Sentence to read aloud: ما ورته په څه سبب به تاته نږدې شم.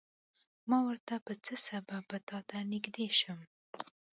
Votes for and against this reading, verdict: 2, 1, accepted